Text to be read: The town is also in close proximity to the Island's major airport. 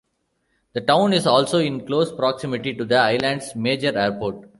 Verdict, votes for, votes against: accepted, 2, 0